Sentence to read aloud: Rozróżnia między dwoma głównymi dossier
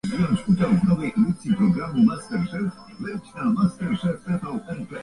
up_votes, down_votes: 0, 2